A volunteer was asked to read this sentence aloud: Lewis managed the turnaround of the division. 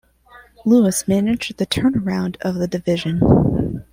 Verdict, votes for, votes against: rejected, 0, 2